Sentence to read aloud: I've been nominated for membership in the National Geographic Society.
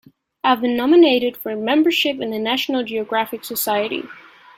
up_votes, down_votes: 2, 0